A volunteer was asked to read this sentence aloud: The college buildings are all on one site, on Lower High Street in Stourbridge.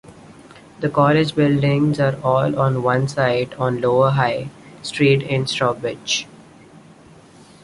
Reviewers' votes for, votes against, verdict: 0, 2, rejected